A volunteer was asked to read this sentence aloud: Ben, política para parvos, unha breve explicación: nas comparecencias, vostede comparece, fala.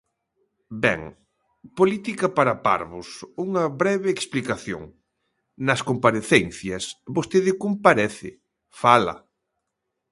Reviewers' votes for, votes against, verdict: 2, 0, accepted